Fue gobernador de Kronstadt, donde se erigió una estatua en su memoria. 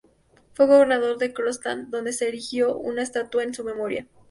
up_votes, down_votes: 2, 0